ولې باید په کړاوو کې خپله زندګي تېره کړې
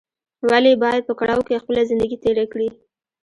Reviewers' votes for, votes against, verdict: 2, 1, accepted